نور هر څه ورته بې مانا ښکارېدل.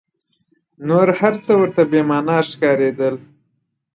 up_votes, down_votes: 2, 1